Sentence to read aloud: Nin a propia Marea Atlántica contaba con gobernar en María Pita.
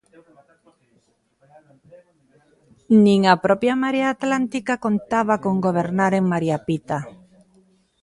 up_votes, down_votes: 1, 2